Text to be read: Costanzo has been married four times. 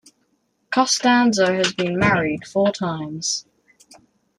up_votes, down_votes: 2, 0